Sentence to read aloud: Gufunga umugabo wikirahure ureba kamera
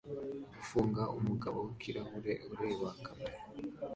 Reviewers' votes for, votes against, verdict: 2, 0, accepted